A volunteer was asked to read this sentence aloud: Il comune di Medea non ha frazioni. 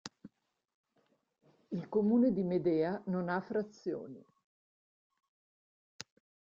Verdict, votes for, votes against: accepted, 2, 0